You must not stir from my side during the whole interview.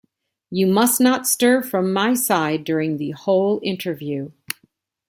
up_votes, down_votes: 2, 0